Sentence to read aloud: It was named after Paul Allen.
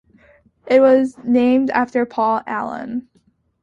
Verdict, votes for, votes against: accepted, 2, 0